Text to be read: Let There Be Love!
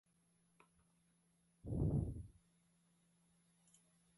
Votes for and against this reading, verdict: 0, 2, rejected